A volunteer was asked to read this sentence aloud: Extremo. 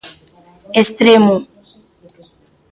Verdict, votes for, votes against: rejected, 0, 2